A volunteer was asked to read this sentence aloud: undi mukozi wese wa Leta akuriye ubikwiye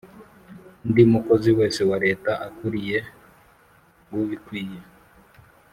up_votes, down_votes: 3, 0